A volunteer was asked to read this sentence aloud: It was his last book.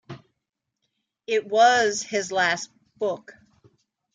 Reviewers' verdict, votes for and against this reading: accepted, 2, 0